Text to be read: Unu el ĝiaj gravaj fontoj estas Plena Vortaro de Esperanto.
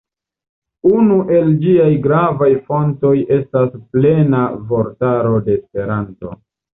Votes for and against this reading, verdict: 2, 0, accepted